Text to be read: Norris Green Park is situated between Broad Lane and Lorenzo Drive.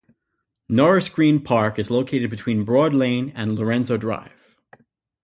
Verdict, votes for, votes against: rejected, 0, 2